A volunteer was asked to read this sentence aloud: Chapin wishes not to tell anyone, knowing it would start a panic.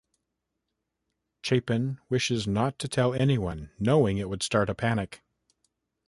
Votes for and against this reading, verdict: 2, 0, accepted